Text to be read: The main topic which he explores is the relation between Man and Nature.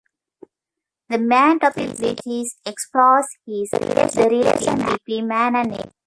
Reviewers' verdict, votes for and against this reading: rejected, 0, 2